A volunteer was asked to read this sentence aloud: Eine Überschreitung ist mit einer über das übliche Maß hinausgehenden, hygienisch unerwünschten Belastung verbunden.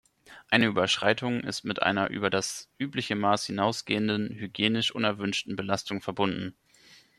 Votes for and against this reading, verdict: 2, 0, accepted